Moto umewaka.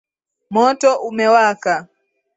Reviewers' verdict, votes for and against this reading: accepted, 2, 0